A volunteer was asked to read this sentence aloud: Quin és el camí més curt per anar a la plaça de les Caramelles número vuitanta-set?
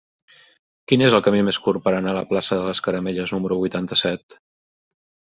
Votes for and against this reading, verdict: 3, 0, accepted